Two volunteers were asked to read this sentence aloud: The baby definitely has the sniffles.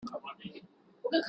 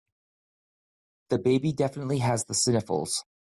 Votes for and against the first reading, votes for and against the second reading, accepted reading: 0, 3, 2, 0, second